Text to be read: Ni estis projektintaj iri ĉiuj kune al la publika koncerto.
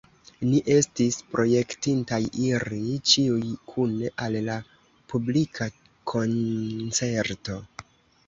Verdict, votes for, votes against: accepted, 2, 1